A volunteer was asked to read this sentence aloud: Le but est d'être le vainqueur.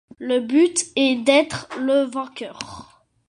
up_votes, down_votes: 2, 0